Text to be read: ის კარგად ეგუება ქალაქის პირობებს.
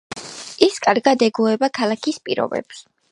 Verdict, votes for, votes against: accepted, 2, 0